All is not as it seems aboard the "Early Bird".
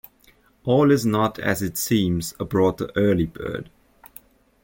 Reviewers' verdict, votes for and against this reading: rejected, 0, 2